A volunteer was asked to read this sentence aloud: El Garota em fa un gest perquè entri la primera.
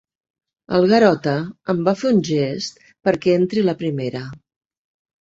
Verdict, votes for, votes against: rejected, 0, 2